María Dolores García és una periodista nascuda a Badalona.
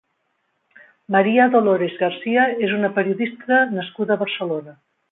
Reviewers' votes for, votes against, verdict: 0, 2, rejected